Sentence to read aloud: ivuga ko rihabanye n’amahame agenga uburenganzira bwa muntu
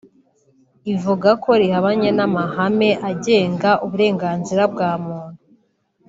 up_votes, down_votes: 2, 1